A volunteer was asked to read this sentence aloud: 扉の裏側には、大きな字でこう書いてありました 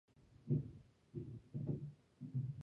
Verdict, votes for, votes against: rejected, 0, 2